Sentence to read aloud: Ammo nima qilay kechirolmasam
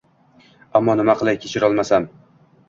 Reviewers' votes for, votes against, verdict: 2, 1, accepted